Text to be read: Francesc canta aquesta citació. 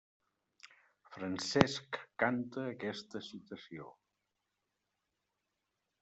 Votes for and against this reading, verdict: 1, 2, rejected